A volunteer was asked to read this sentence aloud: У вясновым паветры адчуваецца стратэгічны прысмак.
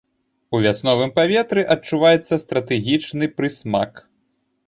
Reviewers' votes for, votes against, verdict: 2, 1, accepted